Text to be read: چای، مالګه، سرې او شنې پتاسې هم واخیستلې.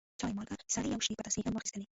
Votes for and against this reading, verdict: 1, 2, rejected